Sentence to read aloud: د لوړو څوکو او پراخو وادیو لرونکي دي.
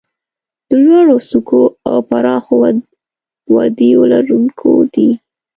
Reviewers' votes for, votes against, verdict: 1, 2, rejected